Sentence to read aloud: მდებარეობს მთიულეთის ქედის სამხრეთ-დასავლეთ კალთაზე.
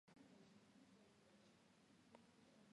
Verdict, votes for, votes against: rejected, 0, 2